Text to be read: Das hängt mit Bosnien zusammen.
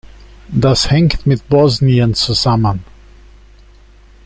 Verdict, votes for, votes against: accepted, 2, 0